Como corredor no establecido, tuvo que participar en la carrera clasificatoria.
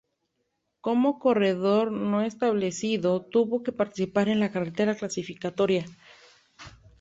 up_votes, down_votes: 0, 2